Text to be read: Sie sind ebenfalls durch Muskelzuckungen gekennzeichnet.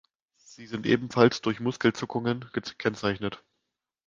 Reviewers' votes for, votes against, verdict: 1, 2, rejected